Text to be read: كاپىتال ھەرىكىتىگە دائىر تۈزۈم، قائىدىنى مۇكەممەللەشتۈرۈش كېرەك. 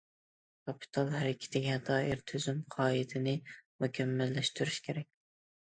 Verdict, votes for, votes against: accepted, 2, 0